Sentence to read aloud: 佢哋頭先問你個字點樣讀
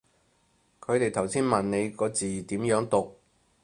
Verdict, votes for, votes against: accepted, 4, 0